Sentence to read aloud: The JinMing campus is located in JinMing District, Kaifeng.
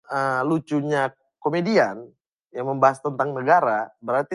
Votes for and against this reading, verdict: 0, 2, rejected